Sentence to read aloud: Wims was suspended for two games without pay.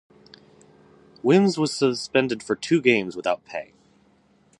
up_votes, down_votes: 2, 0